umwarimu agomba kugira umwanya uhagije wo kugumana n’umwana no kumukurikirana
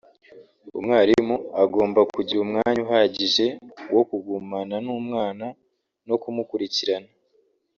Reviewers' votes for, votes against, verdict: 1, 2, rejected